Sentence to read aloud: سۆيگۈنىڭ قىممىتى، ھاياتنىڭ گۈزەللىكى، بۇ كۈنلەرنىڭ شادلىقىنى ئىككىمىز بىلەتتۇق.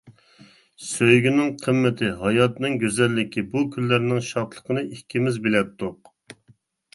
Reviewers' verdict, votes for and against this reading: accepted, 2, 0